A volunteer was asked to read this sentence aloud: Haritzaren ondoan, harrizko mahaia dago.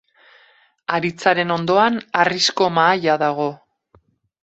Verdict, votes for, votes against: accepted, 2, 0